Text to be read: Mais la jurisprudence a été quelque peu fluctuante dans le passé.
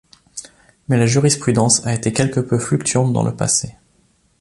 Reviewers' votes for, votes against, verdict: 2, 0, accepted